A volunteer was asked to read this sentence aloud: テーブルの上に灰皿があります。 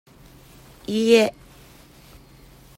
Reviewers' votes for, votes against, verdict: 0, 2, rejected